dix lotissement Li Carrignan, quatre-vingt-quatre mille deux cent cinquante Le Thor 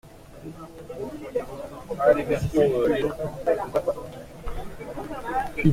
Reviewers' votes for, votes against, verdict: 0, 2, rejected